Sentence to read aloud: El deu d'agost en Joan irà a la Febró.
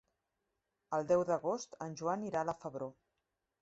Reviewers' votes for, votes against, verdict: 3, 0, accepted